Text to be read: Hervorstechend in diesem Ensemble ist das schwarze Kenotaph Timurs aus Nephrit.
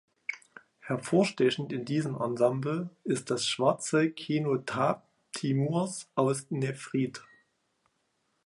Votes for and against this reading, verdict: 0, 2, rejected